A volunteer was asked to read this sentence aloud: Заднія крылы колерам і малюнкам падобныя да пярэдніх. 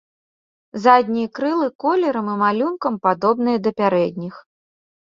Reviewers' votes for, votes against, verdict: 2, 0, accepted